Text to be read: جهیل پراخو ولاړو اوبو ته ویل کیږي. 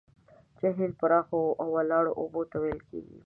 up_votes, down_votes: 0, 2